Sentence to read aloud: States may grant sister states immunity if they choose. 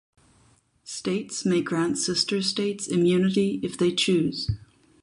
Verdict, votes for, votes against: accepted, 4, 0